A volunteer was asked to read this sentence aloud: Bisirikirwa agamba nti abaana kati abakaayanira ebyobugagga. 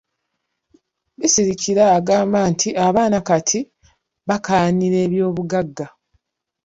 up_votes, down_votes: 1, 2